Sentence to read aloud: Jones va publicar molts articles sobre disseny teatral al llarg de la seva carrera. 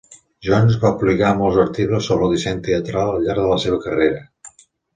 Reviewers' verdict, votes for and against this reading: accepted, 2, 0